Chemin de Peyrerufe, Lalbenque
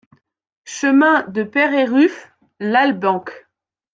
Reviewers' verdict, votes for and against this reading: accepted, 2, 0